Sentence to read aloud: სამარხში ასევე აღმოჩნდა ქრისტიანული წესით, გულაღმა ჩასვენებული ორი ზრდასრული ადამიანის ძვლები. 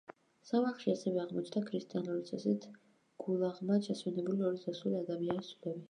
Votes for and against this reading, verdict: 0, 2, rejected